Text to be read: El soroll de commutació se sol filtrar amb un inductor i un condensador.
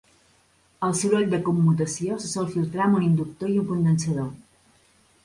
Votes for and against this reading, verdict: 2, 0, accepted